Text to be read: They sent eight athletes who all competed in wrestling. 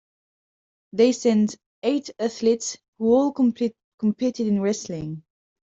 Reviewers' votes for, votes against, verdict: 1, 2, rejected